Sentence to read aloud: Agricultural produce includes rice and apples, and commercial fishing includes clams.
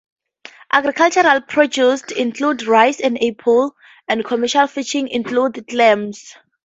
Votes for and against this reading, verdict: 0, 4, rejected